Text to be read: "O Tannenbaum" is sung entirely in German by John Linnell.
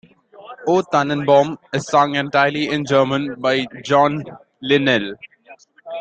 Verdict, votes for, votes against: accepted, 2, 1